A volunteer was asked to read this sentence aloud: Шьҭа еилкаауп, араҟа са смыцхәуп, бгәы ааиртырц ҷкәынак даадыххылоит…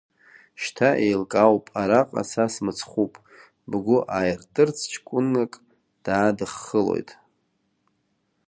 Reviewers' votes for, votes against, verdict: 2, 1, accepted